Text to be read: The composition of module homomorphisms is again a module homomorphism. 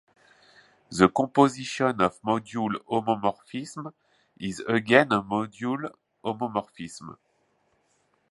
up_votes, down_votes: 1, 2